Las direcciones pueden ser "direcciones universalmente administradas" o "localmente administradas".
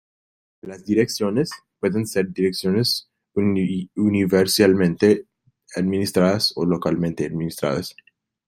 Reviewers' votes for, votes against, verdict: 0, 2, rejected